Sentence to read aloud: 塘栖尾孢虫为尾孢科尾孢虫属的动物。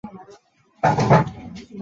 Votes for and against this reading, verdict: 1, 2, rejected